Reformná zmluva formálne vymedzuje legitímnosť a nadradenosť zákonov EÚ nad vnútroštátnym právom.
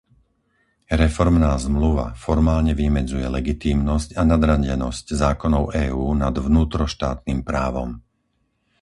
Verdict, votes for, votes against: rejected, 0, 4